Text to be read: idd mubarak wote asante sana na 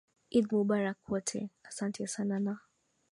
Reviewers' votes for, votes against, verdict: 3, 2, accepted